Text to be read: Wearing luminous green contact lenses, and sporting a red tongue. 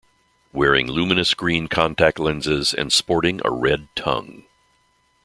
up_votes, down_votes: 2, 0